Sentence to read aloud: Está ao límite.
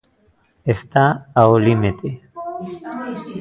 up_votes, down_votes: 0, 2